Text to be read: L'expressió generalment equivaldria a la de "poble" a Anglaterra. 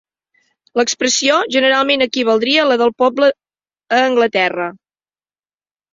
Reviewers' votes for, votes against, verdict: 1, 2, rejected